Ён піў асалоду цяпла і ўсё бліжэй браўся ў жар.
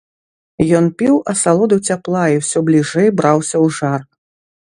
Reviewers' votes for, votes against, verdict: 2, 0, accepted